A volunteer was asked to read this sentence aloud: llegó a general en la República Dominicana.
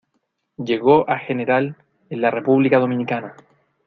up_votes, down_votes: 2, 0